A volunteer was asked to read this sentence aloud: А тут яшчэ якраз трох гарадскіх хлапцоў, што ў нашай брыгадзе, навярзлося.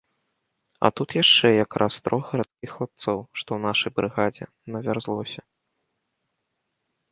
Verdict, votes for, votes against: rejected, 1, 2